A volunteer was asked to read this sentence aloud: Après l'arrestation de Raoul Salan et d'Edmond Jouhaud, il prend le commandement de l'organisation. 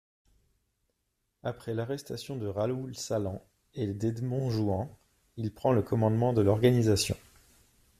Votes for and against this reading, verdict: 1, 2, rejected